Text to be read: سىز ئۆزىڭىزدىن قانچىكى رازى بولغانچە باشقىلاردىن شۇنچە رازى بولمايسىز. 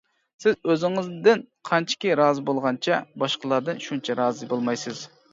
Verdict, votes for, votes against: accepted, 2, 0